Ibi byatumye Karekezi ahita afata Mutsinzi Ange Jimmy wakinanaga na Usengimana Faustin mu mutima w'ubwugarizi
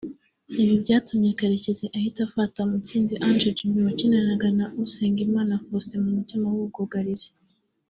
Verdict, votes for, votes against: accepted, 3, 0